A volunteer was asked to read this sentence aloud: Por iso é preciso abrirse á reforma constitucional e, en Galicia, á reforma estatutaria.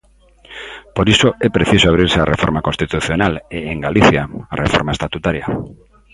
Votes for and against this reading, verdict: 2, 0, accepted